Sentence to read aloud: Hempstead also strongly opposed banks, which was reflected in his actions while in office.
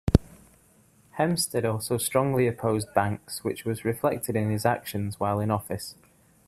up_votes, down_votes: 2, 0